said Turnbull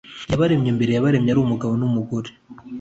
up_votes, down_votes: 0, 2